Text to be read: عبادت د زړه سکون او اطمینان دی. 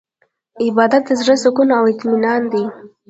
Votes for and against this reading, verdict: 0, 2, rejected